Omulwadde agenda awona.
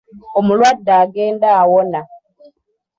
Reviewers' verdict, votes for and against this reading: accepted, 2, 0